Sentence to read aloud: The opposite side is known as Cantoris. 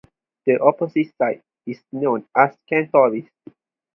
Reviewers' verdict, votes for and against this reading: accepted, 4, 0